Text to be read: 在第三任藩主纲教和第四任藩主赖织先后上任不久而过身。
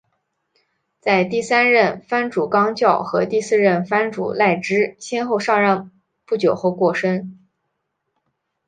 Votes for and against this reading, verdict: 6, 1, accepted